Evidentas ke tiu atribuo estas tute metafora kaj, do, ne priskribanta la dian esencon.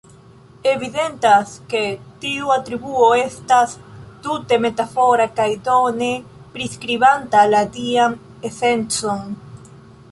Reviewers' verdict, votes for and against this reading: accepted, 2, 0